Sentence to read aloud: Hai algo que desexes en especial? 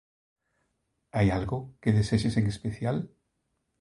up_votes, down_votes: 2, 0